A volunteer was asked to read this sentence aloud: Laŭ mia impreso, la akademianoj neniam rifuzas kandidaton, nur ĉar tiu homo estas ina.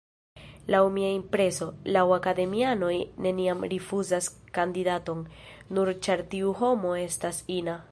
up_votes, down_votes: 0, 2